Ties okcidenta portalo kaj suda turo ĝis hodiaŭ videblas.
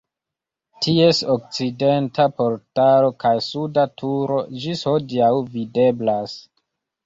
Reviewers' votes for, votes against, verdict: 2, 0, accepted